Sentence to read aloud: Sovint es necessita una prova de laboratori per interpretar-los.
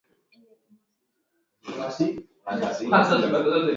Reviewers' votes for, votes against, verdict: 1, 2, rejected